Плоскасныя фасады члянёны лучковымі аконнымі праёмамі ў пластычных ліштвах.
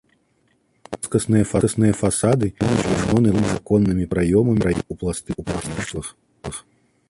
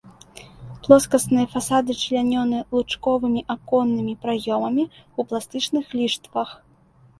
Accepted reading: second